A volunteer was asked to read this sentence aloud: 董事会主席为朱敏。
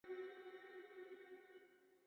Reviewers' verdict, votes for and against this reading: rejected, 1, 2